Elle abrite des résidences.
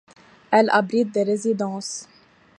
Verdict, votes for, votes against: accepted, 2, 0